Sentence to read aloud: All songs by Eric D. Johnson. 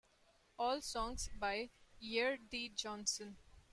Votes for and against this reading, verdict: 2, 0, accepted